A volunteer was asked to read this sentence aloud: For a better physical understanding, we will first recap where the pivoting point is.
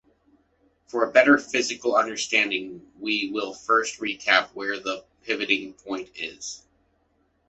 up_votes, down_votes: 2, 0